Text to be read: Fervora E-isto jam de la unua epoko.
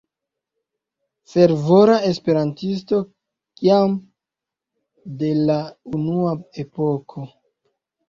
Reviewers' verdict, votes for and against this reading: rejected, 1, 2